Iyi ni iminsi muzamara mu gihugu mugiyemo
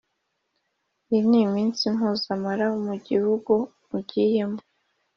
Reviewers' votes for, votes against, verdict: 2, 0, accepted